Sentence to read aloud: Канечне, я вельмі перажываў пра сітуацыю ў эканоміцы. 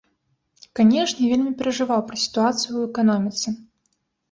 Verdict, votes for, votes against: rejected, 0, 2